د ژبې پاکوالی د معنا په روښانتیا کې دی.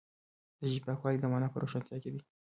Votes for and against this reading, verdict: 2, 1, accepted